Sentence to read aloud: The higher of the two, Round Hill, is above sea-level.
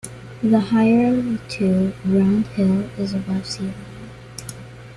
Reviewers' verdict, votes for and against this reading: accepted, 2, 0